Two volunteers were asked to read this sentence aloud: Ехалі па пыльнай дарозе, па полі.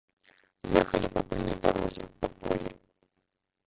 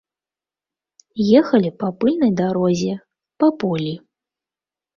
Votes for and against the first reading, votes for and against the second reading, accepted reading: 1, 2, 2, 0, second